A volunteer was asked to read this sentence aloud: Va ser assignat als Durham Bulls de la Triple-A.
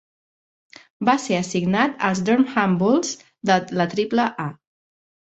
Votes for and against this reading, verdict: 3, 0, accepted